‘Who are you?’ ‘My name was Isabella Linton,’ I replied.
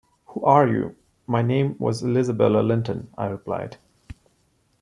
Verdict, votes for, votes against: rejected, 1, 2